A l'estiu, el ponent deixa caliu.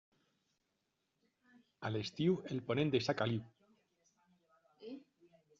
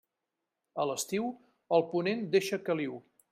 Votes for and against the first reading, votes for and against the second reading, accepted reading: 1, 2, 3, 0, second